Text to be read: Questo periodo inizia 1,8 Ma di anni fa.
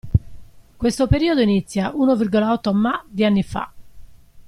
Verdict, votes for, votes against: rejected, 0, 2